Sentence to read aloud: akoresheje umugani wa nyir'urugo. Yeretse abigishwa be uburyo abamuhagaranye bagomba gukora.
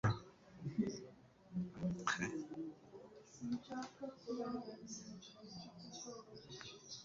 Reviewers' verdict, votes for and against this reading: rejected, 1, 2